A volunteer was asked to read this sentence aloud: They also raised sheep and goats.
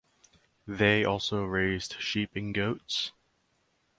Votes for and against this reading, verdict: 4, 0, accepted